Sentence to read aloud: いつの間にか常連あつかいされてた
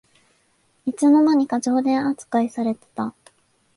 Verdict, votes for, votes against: accepted, 2, 0